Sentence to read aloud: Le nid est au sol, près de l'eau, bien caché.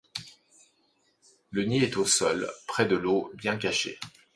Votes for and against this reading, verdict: 2, 0, accepted